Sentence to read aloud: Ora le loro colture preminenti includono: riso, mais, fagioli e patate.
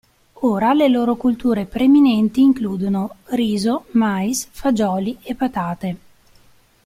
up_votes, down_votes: 2, 0